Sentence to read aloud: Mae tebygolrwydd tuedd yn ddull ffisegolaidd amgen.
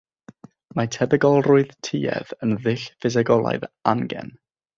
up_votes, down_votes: 3, 3